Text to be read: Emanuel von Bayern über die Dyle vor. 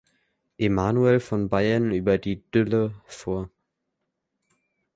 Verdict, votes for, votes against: rejected, 1, 2